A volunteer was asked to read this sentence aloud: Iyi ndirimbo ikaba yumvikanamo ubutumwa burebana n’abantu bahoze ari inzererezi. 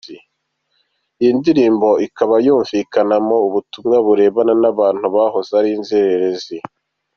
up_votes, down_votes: 2, 0